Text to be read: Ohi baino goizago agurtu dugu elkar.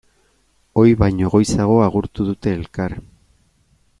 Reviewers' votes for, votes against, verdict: 0, 2, rejected